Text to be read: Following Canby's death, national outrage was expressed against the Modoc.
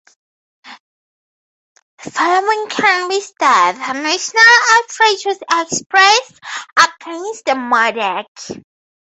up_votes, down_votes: 2, 2